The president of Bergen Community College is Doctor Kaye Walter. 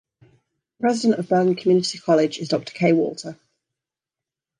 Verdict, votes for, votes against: accepted, 2, 0